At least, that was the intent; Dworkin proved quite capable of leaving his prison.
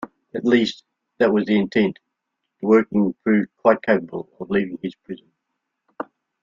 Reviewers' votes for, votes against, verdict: 2, 0, accepted